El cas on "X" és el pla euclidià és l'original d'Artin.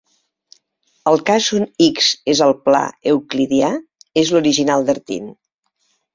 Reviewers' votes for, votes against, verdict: 3, 0, accepted